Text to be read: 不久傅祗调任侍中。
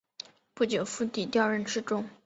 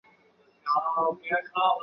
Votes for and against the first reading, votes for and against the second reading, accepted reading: 3, 0, 1, 2, first